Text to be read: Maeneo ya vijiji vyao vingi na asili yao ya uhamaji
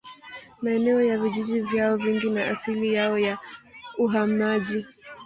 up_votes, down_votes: 0, 2